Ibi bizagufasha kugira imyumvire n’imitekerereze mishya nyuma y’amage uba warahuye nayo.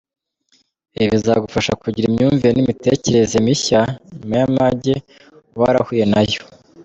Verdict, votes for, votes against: accepted, 2, 1